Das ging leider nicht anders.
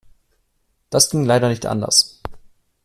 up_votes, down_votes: 2, 0